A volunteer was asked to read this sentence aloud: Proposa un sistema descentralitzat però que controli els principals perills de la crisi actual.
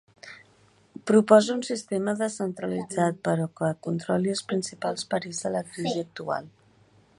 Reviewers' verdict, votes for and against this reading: accepted, 2, 0